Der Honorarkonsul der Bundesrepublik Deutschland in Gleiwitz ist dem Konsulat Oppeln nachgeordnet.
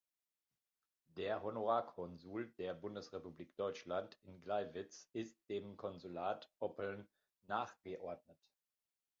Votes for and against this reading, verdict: 2, 0, accepted